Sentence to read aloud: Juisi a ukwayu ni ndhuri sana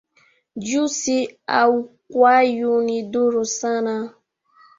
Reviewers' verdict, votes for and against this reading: accepted, 2, 1